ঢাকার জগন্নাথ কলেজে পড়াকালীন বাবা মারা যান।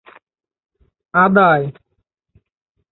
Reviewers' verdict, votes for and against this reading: rejected, 0, 3